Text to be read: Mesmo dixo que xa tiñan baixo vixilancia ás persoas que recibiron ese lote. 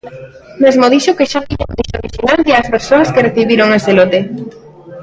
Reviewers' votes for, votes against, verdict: 0, 2, rejected